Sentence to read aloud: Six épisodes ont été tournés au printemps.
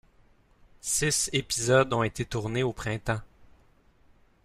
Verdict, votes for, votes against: accepted, 2, 1